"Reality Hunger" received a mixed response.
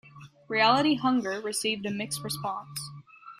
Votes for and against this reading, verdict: 2, 0, accepted